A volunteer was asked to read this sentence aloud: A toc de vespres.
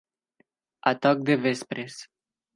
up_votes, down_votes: 2, 0